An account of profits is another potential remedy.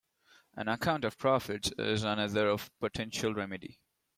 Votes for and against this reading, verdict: 0, 2, rejected